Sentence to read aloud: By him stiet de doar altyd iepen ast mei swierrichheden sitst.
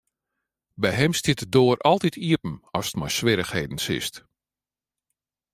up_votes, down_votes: 2, 1